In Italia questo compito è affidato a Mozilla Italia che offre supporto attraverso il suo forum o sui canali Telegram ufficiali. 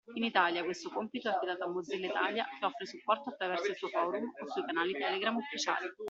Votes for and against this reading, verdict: 2, 0, accepted